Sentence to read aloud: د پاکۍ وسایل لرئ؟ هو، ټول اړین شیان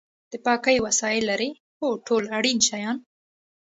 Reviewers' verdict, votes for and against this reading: accepted, 2, 0